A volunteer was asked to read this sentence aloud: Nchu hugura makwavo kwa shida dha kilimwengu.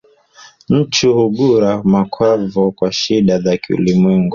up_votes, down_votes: 1, 2